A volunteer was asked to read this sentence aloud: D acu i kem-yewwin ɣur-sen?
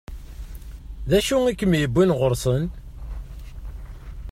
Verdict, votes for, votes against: accepted, 2, 0